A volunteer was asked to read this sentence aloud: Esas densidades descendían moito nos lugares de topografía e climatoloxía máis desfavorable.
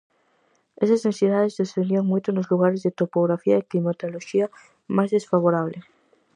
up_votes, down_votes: 4, 0